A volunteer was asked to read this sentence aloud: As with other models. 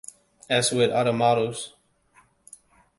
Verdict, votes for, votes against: accepted, 2, 0